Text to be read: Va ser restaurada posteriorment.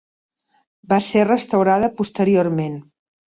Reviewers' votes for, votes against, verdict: 3, 0, accepted